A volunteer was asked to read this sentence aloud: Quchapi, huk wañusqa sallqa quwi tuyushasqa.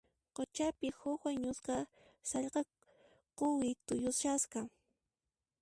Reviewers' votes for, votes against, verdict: 1, 2, rejected